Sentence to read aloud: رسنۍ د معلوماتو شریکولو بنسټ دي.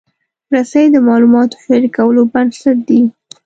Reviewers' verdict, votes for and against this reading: rejected, 1, 2